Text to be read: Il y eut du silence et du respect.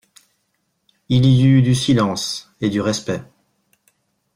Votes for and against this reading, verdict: 2, 1, accepted